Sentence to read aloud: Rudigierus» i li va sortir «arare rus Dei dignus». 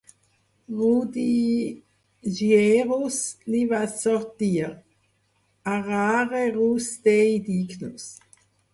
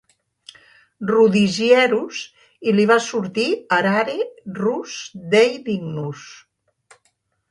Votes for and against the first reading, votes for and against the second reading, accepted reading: 0, 4, 4, 0, second